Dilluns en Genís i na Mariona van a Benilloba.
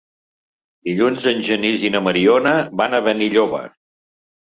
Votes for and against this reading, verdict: 2, 0, accepted